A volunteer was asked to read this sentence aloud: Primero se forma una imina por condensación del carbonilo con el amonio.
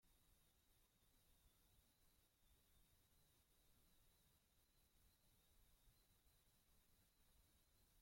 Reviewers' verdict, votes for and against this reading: rejected, 0, 2